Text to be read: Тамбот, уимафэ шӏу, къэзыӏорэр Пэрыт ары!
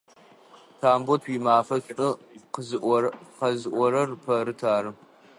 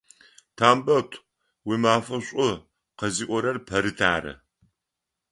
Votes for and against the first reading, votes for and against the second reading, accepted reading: 1, 2, 4, 0, second